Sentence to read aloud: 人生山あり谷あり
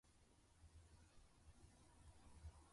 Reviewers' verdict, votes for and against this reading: rejected, 0, 2